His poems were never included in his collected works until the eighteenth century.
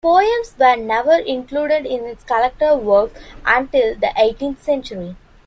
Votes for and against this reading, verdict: 1, 2, rejected